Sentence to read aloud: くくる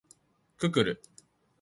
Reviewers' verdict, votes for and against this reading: rejected, 1, 2